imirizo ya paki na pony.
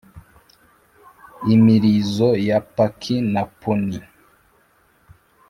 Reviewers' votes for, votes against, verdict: 2, 0, accepted